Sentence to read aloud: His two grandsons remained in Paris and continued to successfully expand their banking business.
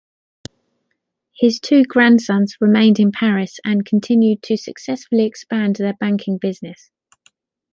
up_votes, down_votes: 2, 0